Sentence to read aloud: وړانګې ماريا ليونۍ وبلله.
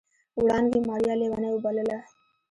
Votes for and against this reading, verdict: 2, 1, accepted